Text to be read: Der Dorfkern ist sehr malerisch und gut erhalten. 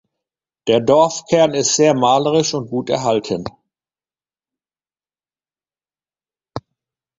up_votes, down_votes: 2, 0